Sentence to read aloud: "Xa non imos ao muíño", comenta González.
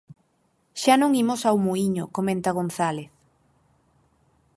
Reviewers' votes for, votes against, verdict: 4, 0, accepted